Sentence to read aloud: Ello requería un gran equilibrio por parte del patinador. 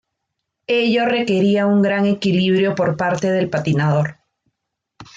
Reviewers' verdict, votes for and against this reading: accepted, 2, 0